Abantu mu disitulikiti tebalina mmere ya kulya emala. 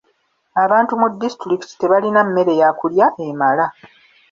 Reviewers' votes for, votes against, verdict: 2, 0, accepted